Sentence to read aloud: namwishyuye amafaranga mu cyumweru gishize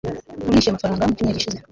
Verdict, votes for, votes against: rejected, 1, 2